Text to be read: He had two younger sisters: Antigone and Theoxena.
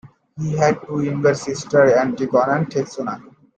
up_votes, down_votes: 0, 2